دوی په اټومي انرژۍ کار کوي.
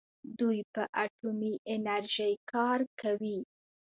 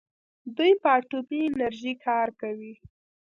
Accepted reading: first